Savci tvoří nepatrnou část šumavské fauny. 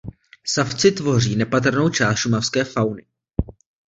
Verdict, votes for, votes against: accepted, 2, 0